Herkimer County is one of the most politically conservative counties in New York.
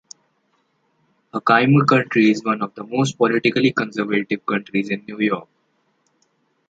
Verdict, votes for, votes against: rejected, 0, 2